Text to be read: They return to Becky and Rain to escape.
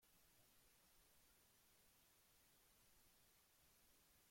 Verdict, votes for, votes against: rejected, 0, 2